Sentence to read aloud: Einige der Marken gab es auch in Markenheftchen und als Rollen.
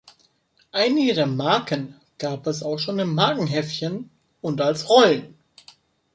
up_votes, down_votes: 1, 2